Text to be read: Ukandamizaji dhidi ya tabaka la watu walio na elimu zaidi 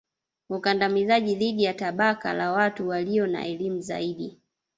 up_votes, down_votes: 0, 2